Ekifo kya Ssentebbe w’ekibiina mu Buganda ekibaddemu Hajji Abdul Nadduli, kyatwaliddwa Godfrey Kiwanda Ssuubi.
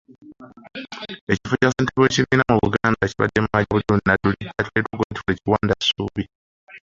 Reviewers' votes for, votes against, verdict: 1, 2, rejected